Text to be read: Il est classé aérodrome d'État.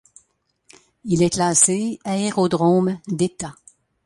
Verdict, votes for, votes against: accepted, 2, 0